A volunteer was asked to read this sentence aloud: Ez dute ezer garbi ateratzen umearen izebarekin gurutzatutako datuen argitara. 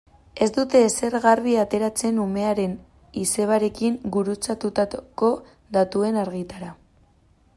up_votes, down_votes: 0, 2